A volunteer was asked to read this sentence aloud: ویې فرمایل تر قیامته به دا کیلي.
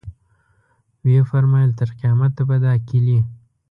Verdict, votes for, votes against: accepted, 2, 0